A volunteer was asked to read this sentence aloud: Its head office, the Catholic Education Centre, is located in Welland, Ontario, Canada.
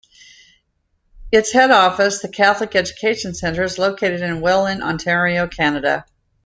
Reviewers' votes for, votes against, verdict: 2, 0, accepted